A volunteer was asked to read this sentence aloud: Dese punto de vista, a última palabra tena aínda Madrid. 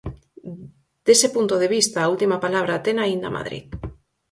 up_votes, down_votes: 4, 0